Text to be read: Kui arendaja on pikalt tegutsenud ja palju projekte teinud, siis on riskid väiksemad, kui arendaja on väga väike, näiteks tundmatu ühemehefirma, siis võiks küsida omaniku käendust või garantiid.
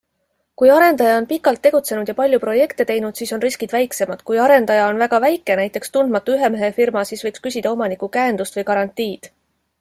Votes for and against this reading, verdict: 2, 0, accepted